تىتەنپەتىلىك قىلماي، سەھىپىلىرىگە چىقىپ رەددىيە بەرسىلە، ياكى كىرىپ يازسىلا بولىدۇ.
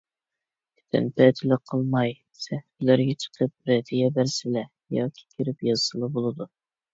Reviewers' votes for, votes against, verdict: 1, 2, rejected